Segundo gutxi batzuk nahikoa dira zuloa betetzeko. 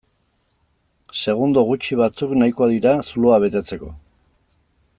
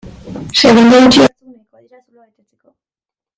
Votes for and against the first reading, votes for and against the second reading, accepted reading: 2, 0, 0, 2, first